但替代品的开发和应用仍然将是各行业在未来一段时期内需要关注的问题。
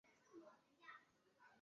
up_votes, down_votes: 0, 2